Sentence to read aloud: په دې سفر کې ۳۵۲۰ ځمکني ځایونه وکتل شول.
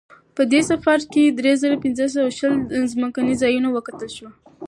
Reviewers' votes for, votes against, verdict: 0, 2, rejected